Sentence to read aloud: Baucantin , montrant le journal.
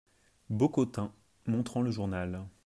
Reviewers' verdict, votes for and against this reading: rejected, 0, 2